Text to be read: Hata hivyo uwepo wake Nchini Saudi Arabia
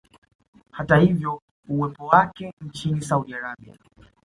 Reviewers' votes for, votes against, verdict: 2, 0, accepted